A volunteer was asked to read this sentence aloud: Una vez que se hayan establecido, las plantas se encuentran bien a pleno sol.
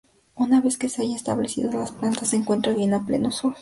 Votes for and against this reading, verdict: 0, 2, rejected